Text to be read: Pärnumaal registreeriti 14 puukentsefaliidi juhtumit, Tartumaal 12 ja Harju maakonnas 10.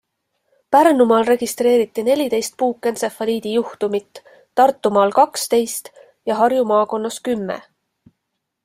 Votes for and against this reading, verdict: 0, 2, rejected